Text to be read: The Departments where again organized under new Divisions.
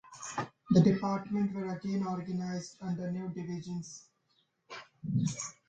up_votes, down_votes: 1, 2